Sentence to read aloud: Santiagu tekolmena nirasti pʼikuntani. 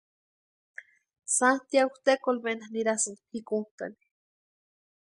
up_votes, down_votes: 2, 0